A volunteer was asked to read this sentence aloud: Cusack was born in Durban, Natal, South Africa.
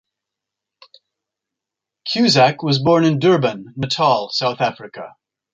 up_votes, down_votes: 2, 0